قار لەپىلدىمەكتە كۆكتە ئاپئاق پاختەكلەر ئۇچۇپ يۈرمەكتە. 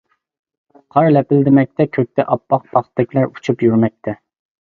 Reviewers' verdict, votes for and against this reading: accepted, 2, 0